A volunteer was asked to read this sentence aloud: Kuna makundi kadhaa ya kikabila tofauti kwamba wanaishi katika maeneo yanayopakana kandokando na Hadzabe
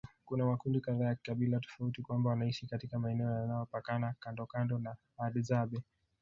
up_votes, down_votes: 1, 2